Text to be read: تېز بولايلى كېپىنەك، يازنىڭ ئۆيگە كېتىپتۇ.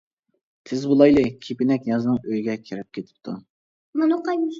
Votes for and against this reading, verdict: 0, 2, rejected